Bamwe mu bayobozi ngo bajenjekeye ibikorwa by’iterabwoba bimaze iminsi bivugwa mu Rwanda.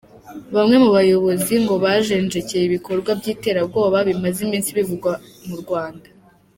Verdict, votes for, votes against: accepted, 2, 0